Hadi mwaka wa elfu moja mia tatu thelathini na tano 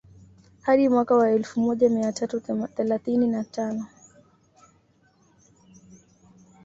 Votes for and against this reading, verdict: 2, 1, accepted